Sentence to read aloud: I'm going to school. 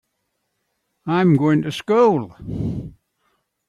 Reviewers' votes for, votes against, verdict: 2, 0, accepted